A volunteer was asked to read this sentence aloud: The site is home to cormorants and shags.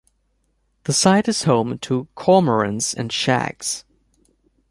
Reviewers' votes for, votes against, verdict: 3, 0, accepted